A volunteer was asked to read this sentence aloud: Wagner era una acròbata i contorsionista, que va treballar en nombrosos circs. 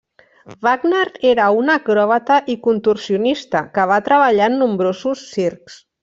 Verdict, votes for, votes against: rejected, 1, 2